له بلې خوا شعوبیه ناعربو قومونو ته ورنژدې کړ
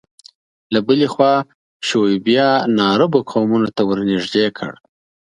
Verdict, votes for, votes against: accepted, 2, 0